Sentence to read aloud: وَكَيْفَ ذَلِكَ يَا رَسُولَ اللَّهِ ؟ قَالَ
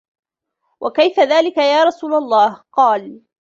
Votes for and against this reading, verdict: 2, 0, accepted